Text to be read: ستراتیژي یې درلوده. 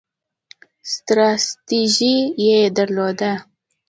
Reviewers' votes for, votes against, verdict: 2, 0, accepted